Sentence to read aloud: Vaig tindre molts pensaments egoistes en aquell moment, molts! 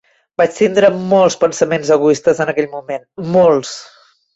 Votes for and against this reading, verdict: 2, 0, accepted